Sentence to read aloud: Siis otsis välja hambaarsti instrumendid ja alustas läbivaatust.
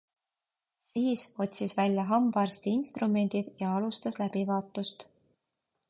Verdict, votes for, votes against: accepted, 2, 0